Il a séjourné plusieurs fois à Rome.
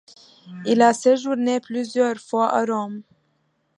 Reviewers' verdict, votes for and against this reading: accepted, 2, 0